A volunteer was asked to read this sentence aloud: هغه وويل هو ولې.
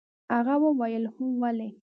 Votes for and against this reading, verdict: 2, 0, accepted